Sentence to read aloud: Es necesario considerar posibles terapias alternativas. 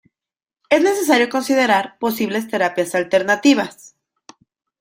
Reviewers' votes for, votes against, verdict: 2, 0, accepted